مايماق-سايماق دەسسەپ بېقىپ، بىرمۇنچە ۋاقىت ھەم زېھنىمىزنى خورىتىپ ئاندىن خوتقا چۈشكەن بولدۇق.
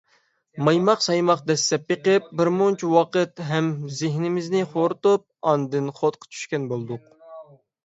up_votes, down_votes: 6, 0